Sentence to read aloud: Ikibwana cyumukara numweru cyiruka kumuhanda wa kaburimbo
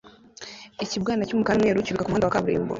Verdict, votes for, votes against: rejected, 1, 2